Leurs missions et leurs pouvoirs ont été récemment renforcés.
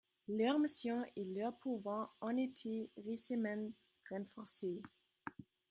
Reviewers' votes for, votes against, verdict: 1, 3, rejected